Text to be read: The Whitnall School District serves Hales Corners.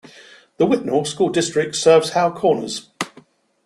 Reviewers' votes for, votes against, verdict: 1, 2, rejected